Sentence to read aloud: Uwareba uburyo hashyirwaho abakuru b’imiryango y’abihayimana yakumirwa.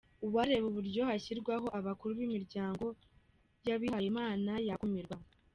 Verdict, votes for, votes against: accepted, 2, 1